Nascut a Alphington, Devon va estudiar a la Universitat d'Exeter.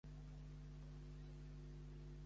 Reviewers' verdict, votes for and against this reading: rejected, 0, 2